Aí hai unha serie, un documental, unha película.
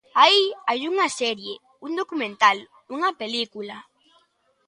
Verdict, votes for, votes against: accepted, 2, 0